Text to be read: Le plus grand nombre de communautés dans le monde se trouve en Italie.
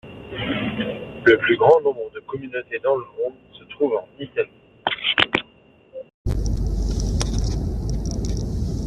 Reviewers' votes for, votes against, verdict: 1, 2, rejected